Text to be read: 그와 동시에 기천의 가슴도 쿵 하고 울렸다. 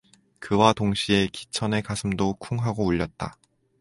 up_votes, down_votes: 4, 0